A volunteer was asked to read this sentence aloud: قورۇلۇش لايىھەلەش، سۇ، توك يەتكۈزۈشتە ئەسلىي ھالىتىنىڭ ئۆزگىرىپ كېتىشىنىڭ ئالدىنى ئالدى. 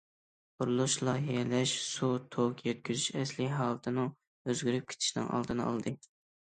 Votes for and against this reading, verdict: 1, 2, rejected